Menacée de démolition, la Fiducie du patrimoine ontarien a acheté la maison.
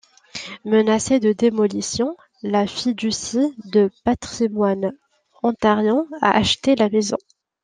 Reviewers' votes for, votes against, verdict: 1, 2, rejected